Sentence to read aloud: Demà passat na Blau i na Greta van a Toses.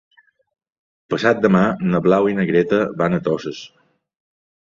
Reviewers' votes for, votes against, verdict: 0, 3, rejected